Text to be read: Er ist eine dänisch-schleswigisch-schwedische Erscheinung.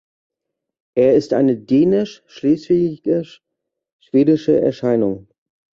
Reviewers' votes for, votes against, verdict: 1, 2, rejected